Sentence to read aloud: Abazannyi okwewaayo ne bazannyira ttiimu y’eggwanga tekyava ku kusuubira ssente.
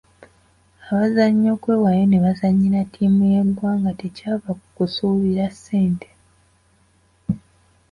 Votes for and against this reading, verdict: 2, 0, accepted